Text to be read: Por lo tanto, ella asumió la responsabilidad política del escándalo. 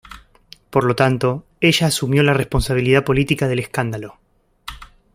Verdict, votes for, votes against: accepted, 2, 0